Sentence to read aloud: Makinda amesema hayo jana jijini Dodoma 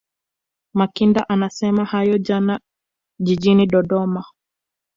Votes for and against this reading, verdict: 1, 2, rejected